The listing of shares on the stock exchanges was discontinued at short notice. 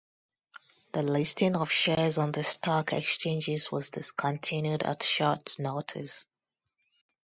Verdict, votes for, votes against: accepted, 4, 0